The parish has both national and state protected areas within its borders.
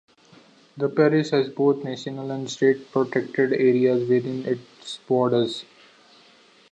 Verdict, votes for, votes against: accepted, 2, 0